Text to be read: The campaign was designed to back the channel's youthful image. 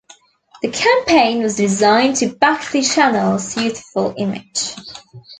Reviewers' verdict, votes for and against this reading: accepted, 2, 0